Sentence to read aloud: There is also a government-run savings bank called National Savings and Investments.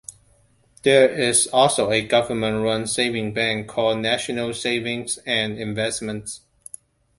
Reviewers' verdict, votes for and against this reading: rejected, 1, 2